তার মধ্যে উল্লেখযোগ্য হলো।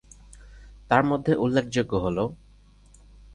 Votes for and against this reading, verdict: 2, 0, accepted